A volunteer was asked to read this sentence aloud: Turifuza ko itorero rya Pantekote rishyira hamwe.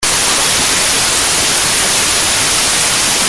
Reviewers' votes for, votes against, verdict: 0, 2, rejected